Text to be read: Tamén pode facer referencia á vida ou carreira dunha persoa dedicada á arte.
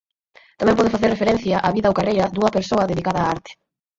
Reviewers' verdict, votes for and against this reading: accepted, 8, 6